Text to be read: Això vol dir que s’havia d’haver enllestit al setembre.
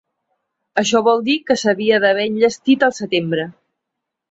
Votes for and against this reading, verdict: 3, 0, accepted